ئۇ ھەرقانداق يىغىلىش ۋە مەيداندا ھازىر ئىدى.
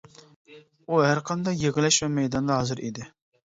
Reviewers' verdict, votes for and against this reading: rejected, 1, 2